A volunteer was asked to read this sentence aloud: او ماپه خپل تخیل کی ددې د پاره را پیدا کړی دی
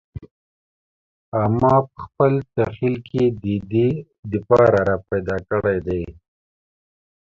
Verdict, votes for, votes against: rejected, 0, 2